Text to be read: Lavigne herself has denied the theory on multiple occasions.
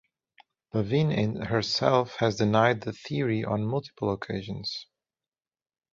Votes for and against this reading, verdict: 0, 2, rejected